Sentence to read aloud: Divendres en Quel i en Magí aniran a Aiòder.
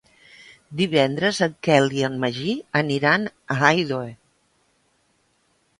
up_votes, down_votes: 1, 2